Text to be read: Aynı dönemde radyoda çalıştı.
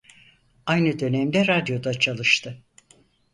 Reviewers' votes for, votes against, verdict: 4, 0, accepted